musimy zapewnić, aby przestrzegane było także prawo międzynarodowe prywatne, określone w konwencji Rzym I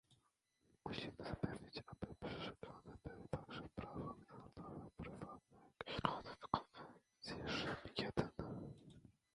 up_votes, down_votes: 0, 2